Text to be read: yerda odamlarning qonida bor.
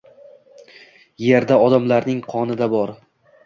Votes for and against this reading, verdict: 1, 2, rejected